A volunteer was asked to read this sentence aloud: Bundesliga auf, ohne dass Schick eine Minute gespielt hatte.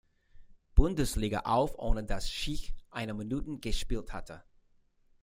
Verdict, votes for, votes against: rejected, 1, 2